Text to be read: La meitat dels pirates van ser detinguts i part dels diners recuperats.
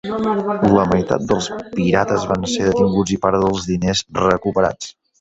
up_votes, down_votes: 5, 6